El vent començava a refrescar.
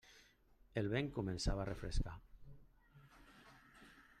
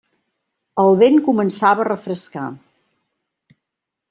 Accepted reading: second